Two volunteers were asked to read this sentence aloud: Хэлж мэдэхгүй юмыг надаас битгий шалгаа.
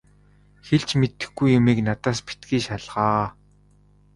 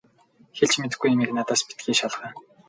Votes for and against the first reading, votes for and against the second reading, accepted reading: 2, 0, 0, 2, first